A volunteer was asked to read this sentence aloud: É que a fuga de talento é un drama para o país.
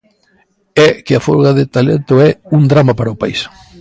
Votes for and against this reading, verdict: 1, 2, rejected